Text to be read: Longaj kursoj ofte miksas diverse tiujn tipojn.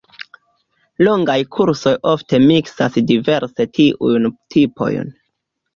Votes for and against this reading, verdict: 3, 1, accepted